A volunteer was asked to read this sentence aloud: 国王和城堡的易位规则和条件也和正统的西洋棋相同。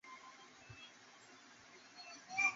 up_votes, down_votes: 2, 3